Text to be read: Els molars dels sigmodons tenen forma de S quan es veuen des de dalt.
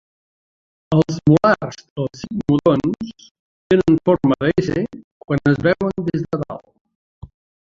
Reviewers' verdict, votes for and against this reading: rejected, 0, 4